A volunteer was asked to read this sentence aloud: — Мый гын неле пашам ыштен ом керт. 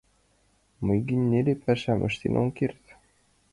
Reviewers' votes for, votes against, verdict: 1, 2, rejected